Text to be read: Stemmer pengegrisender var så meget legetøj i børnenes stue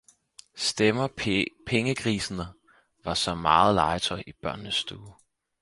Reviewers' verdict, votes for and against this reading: rejected, 0, 4